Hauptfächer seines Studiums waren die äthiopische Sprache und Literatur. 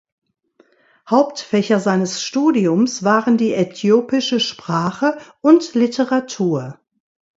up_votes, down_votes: 2, 0